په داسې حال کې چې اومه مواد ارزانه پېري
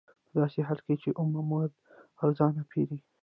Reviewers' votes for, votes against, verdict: 0, 2, rejected